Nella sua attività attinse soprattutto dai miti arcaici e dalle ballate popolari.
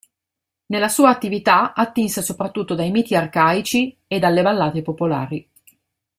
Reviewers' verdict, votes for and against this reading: accepted, 2, 0